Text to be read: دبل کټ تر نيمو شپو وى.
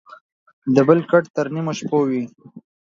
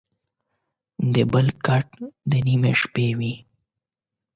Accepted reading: first